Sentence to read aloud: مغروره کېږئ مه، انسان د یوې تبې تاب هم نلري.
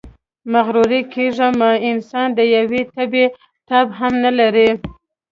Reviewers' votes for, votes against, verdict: 2, 1, accepted